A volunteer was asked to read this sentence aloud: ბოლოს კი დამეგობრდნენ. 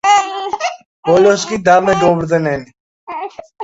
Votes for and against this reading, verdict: 0, 2, rejected